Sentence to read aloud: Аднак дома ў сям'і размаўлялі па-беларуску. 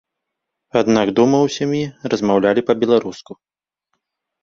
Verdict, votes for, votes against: accepted, 2, 0